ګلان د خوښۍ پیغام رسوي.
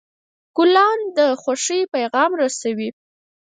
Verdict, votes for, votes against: rejected, 2, 4